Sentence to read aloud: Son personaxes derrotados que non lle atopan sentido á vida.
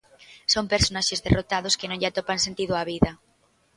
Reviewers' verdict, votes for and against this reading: accepted, 2, 0